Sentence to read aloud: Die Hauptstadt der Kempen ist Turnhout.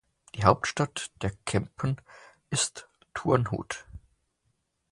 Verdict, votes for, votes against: accepted, 6, 0